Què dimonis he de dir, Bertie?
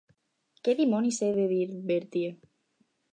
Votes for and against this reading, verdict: 6, 0, accepted